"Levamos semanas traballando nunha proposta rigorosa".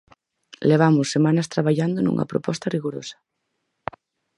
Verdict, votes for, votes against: rejected, 2, 2